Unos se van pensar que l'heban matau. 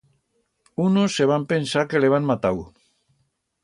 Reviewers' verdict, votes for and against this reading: accepted, 2, 0